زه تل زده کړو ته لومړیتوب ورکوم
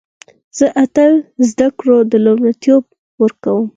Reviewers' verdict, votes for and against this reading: accepted, 4, 2